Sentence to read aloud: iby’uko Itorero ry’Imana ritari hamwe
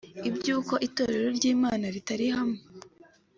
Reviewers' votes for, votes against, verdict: 2, 0, accepted